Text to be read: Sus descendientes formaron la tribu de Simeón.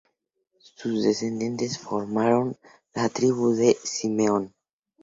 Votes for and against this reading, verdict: 2, 0, accepted